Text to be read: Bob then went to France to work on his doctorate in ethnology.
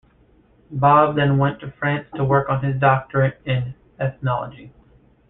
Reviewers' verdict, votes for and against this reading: rejected, 0, 2